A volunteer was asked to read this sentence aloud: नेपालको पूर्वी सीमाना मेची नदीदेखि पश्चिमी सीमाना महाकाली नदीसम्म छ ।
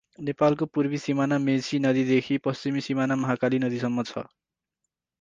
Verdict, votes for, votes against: accepted, 4, 0